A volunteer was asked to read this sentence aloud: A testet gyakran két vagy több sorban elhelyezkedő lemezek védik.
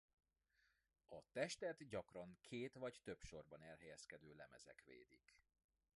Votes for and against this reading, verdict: 0, 2, rejected